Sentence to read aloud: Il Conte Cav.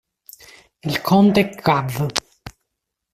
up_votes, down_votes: 0, 2